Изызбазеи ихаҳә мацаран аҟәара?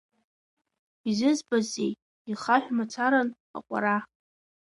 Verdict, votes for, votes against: rejected, 0, 2